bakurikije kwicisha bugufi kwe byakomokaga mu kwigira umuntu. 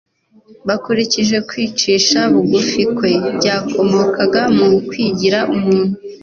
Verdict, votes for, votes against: accepted, 2, 0